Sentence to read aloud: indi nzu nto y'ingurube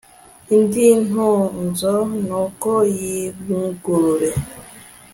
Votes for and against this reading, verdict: 1, 2, rejected